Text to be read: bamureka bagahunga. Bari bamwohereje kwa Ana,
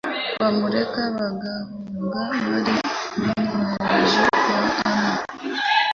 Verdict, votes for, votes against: rejected, 1, 2